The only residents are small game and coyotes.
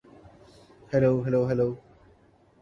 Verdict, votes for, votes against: rejected, 0, 2